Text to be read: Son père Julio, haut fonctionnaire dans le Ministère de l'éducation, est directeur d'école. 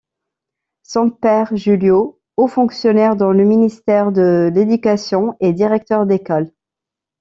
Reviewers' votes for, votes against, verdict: 2, 0, accepted